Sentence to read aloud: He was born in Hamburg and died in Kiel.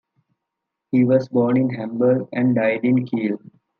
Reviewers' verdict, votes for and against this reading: accepted, 2, 0